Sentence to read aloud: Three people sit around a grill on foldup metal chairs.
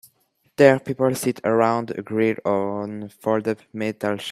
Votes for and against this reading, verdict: 0, 2, rejected